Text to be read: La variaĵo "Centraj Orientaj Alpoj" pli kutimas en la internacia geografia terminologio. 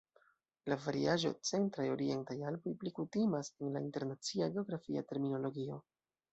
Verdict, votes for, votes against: rejected, 0, 2